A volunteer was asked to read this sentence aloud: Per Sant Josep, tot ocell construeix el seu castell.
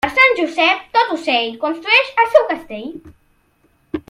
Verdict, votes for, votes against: accepted, 2, 0